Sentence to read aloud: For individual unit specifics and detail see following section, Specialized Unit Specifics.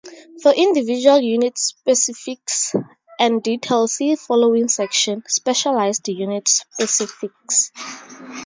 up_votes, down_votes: 2, 2